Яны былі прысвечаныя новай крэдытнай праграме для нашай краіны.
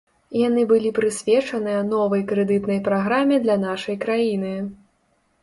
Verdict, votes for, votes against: accepted, 3, 0